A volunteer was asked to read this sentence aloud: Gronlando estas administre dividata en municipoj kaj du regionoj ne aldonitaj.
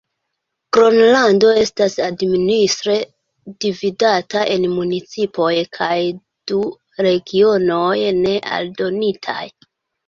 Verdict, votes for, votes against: accepted, 2, 0